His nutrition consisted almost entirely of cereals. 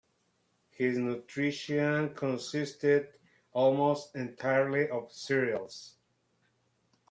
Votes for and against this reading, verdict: 2, 0, accepted